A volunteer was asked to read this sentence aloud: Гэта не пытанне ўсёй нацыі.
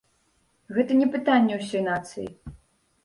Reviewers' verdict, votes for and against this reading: accepted, 2, 0